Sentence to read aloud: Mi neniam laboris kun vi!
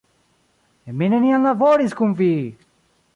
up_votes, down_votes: 0, 2